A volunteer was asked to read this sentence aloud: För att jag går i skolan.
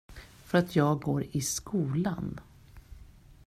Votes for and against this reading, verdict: 2, 1, accepted